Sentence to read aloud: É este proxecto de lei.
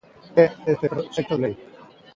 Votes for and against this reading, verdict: 0, 2, rejected